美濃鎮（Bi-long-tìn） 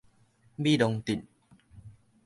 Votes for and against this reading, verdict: 0, 2, rejected